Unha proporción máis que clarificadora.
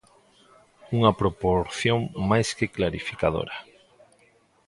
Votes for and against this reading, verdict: 1, 2, rejected